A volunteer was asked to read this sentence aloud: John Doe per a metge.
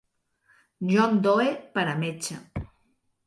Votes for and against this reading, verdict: 1, 2, rejected